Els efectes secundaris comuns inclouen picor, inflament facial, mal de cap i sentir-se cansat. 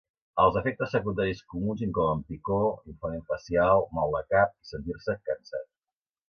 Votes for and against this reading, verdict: 1, 2, rejected